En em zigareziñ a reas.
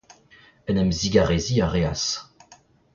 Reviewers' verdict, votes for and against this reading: rejected, 1, 2